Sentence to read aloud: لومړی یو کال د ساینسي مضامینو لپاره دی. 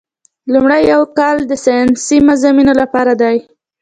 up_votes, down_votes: 2, 0